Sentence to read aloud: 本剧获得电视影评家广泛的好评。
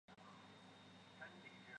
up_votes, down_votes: 0, 4